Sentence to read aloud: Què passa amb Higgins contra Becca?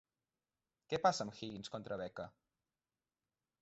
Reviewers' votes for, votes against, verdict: 0, 2, rejected